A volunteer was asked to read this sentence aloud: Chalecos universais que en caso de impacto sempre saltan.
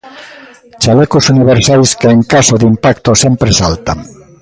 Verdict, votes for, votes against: rejected, 1, 2